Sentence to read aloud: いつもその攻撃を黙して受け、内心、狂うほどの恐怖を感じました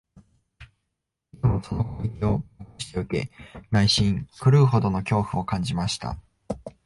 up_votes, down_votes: 1, 3